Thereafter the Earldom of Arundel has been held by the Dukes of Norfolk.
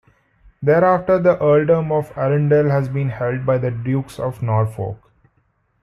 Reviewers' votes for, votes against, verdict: 2, 0, accepted